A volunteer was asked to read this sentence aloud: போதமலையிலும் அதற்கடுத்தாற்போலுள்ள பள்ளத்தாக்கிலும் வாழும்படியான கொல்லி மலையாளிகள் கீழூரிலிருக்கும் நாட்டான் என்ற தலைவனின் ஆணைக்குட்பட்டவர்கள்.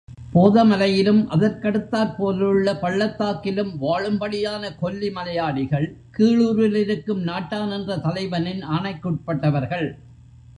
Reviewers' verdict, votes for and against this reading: accepted, 2, 0